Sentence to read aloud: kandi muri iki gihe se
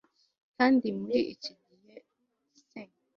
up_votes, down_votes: 1, 2